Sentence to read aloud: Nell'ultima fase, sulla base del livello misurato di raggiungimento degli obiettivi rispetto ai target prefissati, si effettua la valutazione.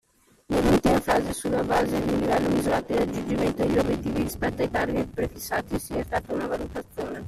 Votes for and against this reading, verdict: 1, 2, rejected